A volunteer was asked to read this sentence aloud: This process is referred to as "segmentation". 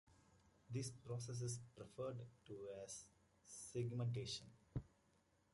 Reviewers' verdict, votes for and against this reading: accepted, 2, 1